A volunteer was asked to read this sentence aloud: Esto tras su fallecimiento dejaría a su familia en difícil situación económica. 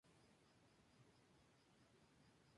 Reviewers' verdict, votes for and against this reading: rejected, 0, 2